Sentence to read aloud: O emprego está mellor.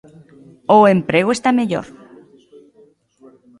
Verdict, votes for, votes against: accepted, 2, 0